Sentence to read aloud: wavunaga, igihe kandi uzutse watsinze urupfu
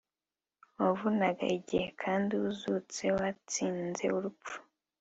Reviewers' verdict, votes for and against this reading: accepted, 4, 0